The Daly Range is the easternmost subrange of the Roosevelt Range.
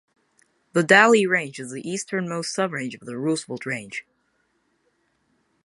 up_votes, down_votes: 0, 2